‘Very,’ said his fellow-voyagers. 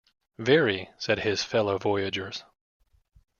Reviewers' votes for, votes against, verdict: 2, 0, accepted